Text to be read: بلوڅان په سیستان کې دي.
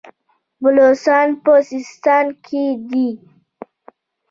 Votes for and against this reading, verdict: 2, 1, accepted